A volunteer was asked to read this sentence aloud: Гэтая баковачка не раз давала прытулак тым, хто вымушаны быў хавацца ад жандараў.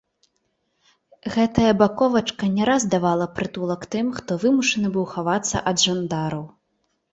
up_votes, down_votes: 2, 0